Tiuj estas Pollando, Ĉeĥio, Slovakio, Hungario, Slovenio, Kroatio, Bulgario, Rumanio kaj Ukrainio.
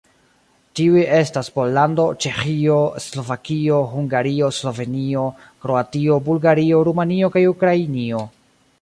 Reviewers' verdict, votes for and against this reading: accepted, 2, 1